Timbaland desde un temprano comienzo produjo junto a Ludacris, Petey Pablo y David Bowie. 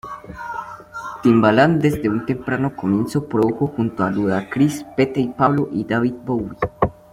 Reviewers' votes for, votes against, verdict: 0, 2, rejected